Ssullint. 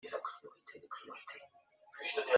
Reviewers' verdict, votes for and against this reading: rejected, 0, 2